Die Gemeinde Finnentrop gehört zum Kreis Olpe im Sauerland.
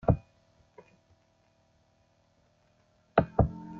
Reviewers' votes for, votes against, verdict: 1, 3, rejected